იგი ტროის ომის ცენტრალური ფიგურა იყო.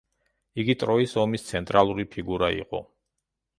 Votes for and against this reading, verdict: 2, 0, accepted